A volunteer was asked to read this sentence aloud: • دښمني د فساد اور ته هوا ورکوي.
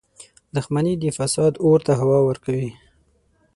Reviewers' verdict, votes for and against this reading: accepted, 24, 0